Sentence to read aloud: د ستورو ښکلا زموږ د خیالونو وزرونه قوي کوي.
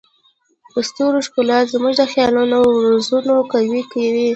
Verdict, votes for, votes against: accepted, 2, 1